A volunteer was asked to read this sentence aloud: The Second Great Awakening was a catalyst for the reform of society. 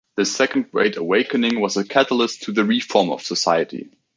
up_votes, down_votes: 1, 2